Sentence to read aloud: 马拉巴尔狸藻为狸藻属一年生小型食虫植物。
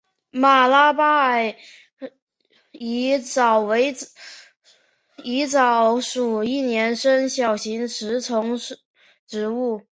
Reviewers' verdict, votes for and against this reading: accepted, 3, 1